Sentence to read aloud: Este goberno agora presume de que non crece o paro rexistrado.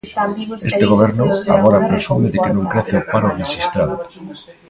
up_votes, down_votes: 0, 2